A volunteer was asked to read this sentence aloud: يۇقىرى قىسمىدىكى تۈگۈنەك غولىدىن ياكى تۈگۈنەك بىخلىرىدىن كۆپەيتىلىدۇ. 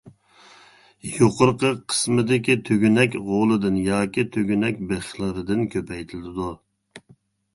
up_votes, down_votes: 0, 2